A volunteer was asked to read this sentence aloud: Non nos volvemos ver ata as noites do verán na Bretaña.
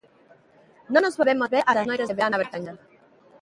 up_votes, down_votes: 0, 2